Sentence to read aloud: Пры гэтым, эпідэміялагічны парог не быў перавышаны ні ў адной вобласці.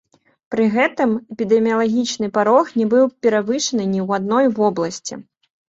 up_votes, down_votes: 2, 1